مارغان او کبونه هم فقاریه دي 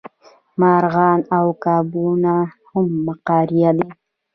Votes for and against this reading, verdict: 2, 1, accepted